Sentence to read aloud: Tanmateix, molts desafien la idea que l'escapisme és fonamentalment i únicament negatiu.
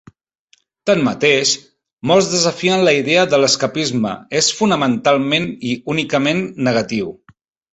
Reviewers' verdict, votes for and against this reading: rejected, 3, 4